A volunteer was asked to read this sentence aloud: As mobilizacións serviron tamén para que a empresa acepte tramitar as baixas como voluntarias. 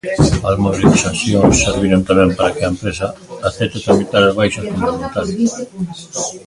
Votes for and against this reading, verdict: 0, 2, rejected